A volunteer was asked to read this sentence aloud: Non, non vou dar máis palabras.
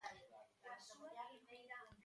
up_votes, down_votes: 0, 2